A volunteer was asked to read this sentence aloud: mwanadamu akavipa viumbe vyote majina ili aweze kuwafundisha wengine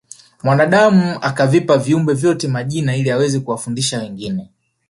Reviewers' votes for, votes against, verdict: 0, 2, rejected